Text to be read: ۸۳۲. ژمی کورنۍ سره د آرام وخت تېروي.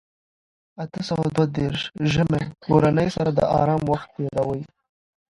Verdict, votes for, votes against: rejected, 0, 2